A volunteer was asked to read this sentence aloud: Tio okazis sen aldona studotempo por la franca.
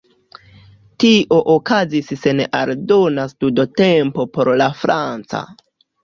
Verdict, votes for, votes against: rejected, 1, 2